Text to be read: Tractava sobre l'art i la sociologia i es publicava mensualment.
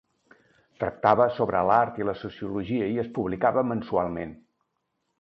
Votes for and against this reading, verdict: 3, 0, accepted